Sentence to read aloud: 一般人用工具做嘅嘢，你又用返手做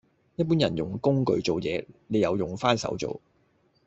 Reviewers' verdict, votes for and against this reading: rejected, 0, 2